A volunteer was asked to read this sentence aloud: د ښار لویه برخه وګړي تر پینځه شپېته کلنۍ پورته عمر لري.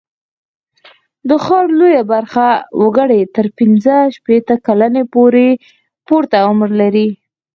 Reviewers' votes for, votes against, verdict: 2, 4, rejected